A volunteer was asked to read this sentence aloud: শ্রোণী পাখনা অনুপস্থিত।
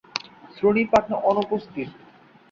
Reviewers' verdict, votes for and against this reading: accepted, 2, 0